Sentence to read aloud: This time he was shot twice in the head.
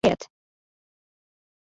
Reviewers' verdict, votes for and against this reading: rejected, 0, 2